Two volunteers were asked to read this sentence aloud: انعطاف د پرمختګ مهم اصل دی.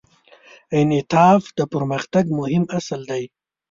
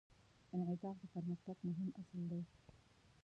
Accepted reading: first